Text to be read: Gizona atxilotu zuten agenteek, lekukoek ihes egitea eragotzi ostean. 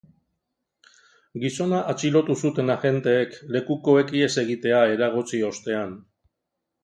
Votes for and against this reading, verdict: 2, 0, accepted